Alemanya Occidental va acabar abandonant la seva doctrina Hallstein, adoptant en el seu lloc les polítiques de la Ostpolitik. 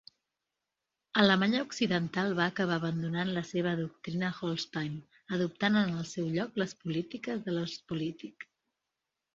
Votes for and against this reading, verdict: 2, 0, accepted